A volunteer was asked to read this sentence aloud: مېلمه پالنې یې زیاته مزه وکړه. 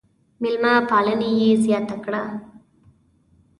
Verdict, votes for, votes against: rejected, 1, 2